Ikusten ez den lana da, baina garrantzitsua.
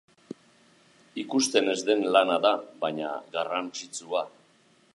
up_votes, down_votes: 2, 0